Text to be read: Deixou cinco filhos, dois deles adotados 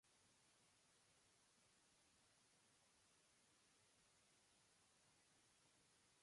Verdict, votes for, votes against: rejected, 0, 2